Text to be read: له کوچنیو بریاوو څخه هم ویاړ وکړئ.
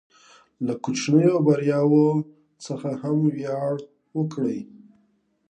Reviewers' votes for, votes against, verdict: 2, 0, accepted